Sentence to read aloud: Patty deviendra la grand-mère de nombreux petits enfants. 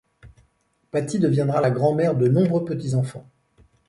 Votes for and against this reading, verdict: 2, 0, accepted